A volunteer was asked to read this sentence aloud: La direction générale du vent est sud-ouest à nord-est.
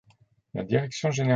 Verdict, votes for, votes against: rejected, 0, 2